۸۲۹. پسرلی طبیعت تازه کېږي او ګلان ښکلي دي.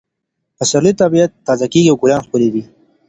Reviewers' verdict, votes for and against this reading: rejected, 0, 2